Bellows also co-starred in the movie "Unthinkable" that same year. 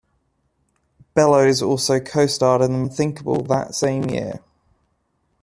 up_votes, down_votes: 1, 2